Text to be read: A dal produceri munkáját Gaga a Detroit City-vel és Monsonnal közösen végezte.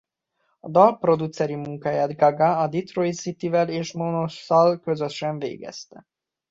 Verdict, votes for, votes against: rejected, 0, 2